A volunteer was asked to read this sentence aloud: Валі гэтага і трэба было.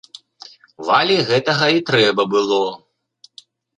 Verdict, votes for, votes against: accepted, 2, 0